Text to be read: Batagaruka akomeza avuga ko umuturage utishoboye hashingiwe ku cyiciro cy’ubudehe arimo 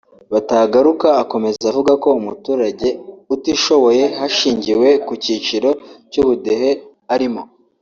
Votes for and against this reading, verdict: 2, 0, accepted